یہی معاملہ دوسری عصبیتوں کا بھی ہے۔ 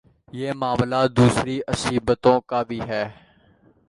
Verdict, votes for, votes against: accepted, 2, 1